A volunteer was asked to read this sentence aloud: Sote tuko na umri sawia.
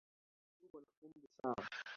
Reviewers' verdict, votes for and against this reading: rejected, 0, 2